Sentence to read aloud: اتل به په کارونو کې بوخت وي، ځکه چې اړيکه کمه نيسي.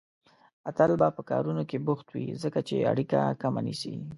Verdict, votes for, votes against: accepted, 2, 0